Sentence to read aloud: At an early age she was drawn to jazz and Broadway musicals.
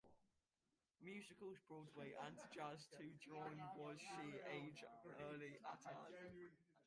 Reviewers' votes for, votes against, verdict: 0, 2, rejected